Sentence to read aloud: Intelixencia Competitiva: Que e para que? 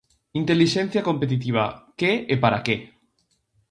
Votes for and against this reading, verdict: 4, 0, accepted